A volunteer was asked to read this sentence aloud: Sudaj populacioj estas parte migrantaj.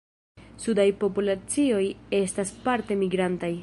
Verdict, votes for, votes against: accepted, 2, 0